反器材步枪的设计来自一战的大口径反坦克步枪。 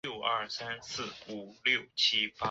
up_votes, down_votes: 0, 2